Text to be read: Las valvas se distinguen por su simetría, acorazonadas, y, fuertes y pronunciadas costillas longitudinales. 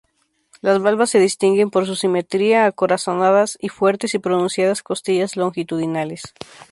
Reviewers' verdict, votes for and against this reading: rejected, 0, 2